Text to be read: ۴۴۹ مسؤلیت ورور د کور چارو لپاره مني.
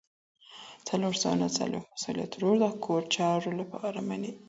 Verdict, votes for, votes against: rejected, 0, 2